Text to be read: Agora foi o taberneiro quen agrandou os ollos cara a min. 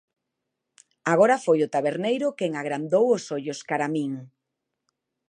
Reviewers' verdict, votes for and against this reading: accepted, 2, 0